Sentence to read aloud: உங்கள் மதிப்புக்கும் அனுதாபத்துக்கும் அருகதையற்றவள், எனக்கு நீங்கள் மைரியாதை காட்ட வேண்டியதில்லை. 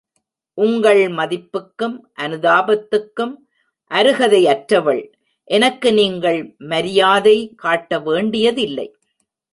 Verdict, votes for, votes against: accepted, 2, 0